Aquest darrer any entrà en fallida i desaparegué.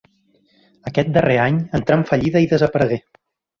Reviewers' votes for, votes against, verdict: 3, 0, accepted